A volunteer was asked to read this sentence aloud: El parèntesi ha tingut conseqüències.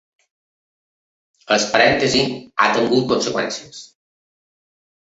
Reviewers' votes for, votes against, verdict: 0, 3, rejected